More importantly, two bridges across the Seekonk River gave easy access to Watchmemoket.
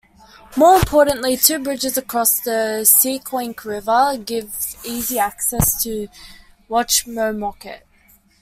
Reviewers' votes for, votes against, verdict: 0, 2, rejected